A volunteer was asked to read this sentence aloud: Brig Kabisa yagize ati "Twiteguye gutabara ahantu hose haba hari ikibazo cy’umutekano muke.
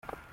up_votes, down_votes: 0, 2